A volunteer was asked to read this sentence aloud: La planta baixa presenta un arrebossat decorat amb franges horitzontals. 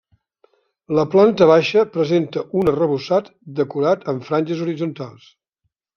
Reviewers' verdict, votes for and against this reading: accepted, 4, 0